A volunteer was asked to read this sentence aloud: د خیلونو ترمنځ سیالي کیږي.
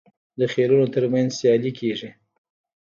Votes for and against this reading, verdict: 2, 1, accepted